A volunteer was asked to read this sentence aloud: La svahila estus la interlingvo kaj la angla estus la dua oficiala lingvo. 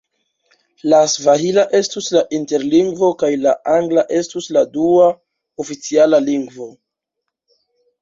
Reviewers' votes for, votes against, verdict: 1, 2, rejected